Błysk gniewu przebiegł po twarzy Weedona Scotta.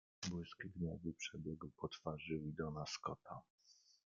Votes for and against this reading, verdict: 0, 2, rejected